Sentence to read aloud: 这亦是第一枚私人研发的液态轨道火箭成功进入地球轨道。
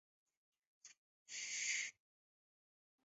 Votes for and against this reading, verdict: 0, 2, rejected